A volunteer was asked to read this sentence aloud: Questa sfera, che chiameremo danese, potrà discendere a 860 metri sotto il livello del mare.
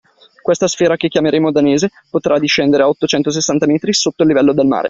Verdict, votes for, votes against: rejected, 0, 2